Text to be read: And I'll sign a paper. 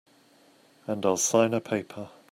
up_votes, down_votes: 2, 0